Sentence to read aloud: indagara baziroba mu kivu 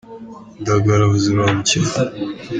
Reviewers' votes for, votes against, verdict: 2, 0, accepted